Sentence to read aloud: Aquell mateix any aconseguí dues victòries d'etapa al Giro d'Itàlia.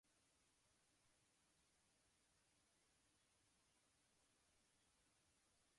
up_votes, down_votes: 0, 2